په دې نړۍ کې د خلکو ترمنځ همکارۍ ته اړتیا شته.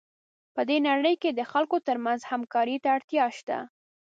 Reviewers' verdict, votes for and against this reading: accepted, 2, 0